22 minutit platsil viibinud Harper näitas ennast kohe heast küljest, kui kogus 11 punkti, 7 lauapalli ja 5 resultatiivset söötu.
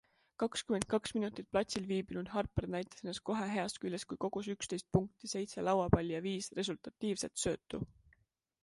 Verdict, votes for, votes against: rejected, 0, 2